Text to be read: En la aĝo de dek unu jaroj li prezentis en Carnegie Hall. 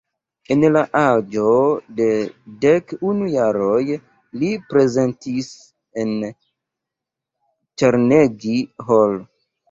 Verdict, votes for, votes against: rejected, 0, 2